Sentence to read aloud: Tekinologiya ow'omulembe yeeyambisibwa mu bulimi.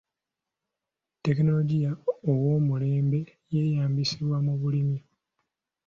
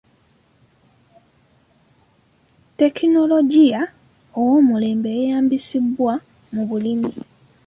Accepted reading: first